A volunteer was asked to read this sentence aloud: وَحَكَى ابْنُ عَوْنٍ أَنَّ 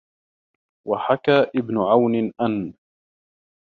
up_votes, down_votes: 2, 1